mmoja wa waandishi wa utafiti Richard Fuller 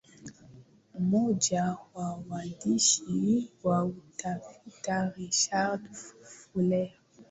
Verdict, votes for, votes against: accepted, 2, 0